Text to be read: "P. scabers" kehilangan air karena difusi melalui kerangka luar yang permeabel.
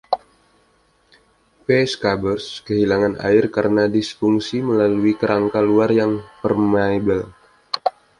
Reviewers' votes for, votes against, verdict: 1, 2, rejected